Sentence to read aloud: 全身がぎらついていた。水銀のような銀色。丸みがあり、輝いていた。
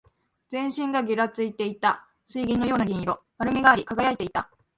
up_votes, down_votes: 0, 2